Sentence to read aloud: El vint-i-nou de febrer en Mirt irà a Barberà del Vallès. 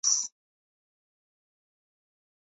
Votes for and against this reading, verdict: 2, 3, rejected